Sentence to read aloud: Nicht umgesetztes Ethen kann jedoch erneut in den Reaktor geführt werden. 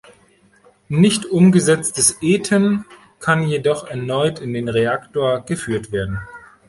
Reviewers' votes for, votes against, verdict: 1, 2, rejected